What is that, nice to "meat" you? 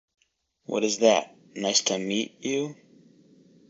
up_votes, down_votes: 4, 0